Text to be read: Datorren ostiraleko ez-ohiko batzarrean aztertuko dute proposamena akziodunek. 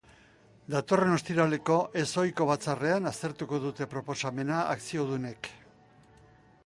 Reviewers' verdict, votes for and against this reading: accepted, 2, 0